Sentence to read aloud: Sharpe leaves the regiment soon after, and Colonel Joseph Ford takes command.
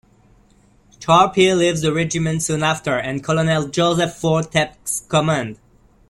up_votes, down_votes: 0, 2